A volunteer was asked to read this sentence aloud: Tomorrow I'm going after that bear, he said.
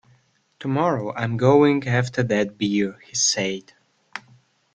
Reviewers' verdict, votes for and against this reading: rejected, 0, 2